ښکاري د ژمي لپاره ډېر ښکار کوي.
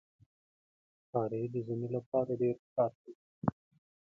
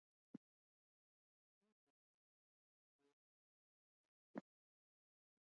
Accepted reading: first